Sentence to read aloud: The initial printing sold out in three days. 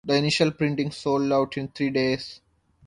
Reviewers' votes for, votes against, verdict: 2, 0, accepted